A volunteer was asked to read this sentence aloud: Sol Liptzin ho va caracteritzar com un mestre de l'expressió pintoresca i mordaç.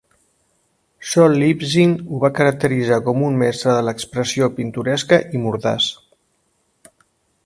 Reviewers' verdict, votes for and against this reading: accepted, 3, 1